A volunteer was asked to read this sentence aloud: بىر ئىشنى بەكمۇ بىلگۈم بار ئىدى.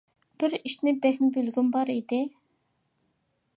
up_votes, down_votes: 2, 0